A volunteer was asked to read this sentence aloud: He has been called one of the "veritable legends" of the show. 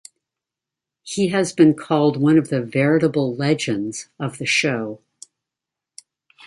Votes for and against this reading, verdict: 2, 0, accepted